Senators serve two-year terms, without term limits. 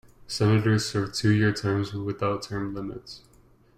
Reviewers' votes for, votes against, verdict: 2, 0, accepted